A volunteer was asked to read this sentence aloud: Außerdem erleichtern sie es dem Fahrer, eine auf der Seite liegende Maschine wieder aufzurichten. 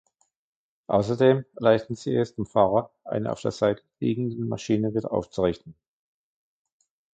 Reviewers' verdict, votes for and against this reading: rejected, 0, 2